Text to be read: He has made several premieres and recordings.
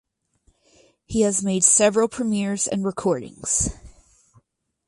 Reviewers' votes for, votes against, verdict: 4, 0, accepted